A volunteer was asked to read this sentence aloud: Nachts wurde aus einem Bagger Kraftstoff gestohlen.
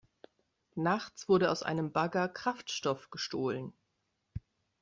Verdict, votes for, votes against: accepted, 2, 0